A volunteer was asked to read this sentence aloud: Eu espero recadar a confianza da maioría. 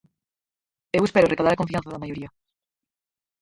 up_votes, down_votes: 0, 4